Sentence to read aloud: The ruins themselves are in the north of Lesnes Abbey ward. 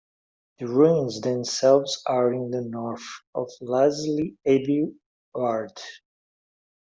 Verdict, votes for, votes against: rejected, 1, 2